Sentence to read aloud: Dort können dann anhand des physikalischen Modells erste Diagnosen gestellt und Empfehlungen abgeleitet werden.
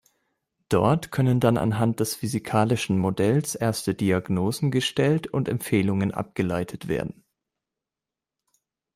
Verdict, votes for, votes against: accepted, 2, 0